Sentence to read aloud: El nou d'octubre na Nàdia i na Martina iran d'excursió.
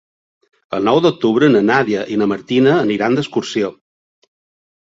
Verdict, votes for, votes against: rejected, 2, 3